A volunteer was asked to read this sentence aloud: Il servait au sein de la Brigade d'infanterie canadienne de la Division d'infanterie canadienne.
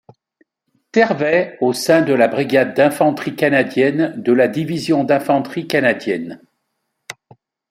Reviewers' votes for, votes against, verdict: 2, 0, accepted